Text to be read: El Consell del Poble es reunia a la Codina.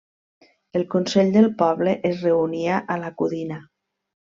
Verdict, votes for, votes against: accepted, 3, 0